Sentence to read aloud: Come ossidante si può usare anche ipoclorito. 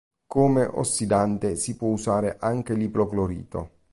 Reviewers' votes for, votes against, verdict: 1, 2, rejected